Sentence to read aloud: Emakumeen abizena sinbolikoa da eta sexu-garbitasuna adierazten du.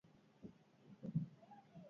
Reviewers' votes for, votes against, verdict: 0, 4, rejected